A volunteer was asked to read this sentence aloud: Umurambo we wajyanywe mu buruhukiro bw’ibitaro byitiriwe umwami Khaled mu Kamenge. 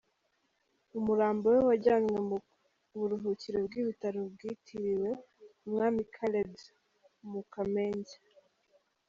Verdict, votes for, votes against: rejected, 1, 2